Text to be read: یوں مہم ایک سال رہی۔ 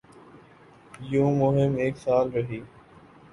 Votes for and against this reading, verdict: 2, 0, accepted